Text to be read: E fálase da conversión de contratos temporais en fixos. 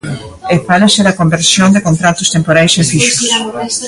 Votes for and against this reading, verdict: 0, 2, rejected